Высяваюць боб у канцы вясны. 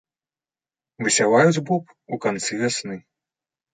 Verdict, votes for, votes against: accepted, 3, 0